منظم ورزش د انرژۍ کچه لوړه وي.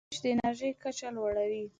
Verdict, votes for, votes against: rejected, 2, 3